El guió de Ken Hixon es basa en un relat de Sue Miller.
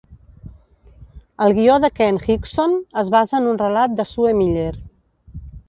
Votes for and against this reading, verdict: 0, 2, rejected